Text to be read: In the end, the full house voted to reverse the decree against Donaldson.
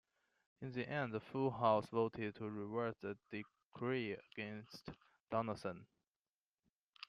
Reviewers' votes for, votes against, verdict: 1, 2, rejected